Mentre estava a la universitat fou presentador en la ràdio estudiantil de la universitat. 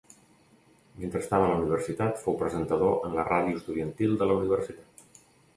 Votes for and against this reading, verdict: 1, 2, rejected